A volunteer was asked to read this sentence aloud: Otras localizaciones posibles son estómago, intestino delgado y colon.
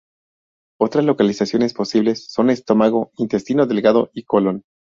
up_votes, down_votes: 2, 0